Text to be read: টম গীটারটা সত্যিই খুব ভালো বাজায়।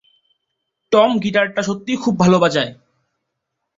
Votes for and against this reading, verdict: 2, 0, accepted